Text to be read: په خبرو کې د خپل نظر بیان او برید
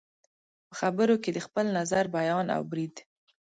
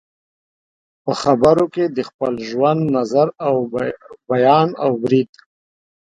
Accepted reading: first